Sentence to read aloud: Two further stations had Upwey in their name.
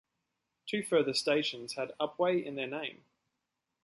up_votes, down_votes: 2, 0